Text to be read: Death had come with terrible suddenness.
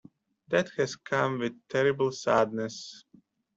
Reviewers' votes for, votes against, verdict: 0, 2, rejected